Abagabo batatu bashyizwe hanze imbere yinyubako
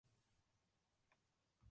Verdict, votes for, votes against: rejected, 1, 2